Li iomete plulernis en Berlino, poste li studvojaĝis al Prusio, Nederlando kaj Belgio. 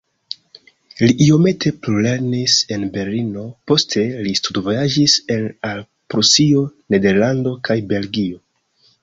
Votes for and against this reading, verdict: 0, 2, rejected